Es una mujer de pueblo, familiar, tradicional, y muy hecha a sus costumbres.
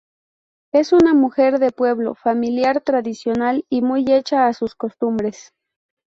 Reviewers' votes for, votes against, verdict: 2, 0, accepted